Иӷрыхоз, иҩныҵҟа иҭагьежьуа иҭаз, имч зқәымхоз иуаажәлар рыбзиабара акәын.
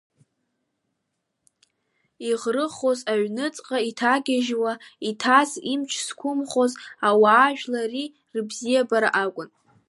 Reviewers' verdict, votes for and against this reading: rejected, 1, 2